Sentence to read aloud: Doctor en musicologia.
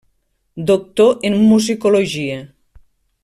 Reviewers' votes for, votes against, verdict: 3, 0, accepted